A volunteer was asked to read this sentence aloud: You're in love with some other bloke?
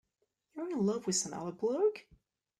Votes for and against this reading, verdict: 1, 2, rejected